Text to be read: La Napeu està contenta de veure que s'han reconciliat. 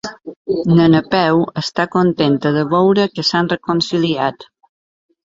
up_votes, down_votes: 2, 0